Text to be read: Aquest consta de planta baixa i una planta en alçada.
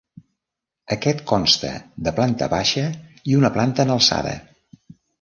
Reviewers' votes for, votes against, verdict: 2, 0, accepted